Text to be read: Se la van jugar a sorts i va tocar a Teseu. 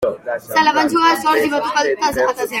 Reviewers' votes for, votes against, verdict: 1, 2, rejected